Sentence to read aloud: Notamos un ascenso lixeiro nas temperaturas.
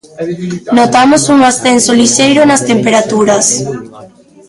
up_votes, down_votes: 1, 2